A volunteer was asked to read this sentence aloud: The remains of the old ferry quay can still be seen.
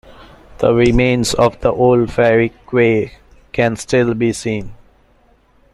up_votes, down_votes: 2, 1